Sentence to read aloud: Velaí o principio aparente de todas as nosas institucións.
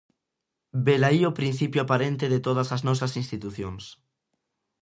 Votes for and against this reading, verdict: 2, 0, accepted